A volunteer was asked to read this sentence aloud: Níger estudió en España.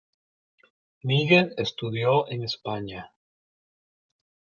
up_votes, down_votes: 1, 2